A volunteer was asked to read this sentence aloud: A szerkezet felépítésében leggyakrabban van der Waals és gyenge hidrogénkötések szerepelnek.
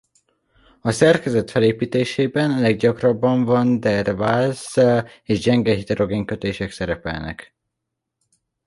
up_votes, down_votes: 2, 0